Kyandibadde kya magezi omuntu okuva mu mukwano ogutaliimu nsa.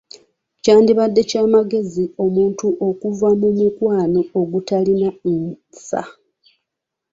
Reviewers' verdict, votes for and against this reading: accepted, 2, 0